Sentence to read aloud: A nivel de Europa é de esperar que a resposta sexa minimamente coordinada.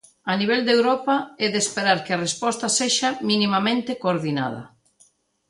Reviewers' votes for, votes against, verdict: 2, 0, accepted